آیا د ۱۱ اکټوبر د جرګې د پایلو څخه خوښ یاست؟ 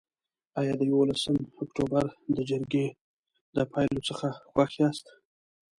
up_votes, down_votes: 0, 2